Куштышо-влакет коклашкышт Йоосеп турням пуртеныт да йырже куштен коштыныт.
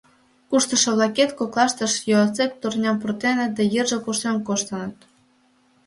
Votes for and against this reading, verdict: 1, 2, rejected